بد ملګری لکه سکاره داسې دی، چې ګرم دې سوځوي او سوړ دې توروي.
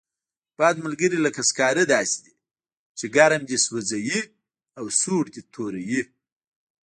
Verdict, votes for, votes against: rejected, 1, 2